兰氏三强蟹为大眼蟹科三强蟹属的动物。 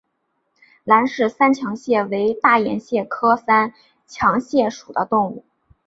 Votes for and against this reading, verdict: 1, 2, rejected